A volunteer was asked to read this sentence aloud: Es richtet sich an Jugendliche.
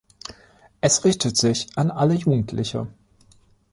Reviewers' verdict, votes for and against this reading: rejected, 1, 2